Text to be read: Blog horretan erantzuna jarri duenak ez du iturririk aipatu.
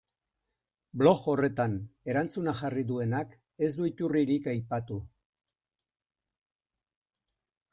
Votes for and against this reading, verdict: 2, 0, accepted